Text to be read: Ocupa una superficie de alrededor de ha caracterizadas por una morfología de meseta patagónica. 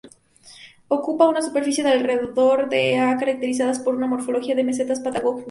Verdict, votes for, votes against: rejected, 0, 4